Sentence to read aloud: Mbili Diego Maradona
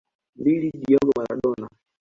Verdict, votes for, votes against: rejected, 0, 2